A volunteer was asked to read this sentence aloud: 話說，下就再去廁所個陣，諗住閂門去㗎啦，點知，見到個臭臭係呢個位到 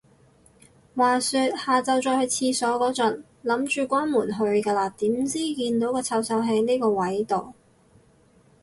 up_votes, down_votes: 0, 2